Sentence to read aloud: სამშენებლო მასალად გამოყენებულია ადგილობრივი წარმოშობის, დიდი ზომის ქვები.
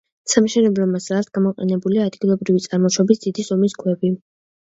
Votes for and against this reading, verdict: 2, 0, accepted